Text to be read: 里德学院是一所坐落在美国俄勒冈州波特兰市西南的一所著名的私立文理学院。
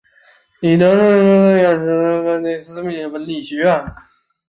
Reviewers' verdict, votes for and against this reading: rejected, 0, 3